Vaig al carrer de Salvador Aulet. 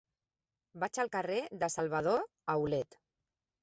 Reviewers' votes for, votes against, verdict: 0, 2, rejected